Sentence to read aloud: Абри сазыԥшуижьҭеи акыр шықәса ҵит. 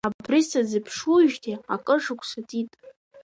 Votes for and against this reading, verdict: 2, 0, accepted